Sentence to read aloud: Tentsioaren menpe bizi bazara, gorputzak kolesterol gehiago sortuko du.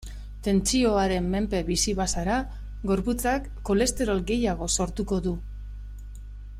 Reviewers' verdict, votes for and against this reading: accepted, 2, 0